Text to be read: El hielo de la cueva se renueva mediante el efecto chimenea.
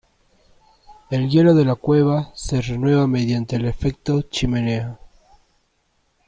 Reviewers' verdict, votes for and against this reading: accepted, 2, 0